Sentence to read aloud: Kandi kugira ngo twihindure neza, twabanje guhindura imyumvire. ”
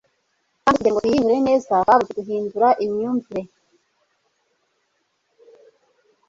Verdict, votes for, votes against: rejected, 0, 2